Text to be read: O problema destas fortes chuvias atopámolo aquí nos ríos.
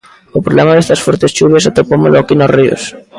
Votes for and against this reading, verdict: 2, 0, accepted